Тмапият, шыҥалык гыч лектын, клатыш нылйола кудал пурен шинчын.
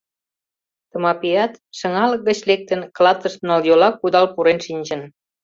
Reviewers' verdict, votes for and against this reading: rejected, 1, 2